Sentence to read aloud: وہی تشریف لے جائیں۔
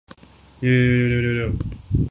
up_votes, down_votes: 2, 3